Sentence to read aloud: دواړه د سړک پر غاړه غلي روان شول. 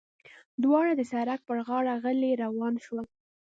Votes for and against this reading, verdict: 2, 0, accepted